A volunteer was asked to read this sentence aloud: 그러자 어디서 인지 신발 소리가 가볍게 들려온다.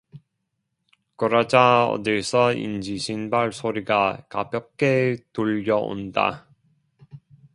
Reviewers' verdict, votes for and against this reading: rejected, 1, 2